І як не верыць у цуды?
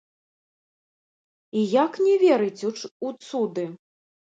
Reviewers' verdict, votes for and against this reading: rejected, 0, 2